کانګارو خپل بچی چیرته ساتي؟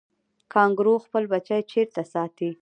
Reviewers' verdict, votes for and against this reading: rejected, 0, 2